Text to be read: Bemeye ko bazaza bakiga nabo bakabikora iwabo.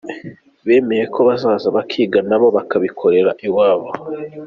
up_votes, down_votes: 2, 0